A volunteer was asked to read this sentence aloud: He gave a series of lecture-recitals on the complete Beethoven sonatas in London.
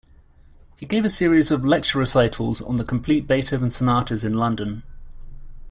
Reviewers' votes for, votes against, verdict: 2, 0, accepted